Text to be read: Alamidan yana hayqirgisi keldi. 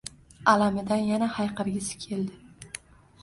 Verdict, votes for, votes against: accepted, 2, 0